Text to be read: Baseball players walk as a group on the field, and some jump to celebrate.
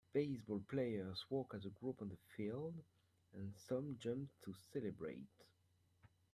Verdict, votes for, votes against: accepted, 2, 0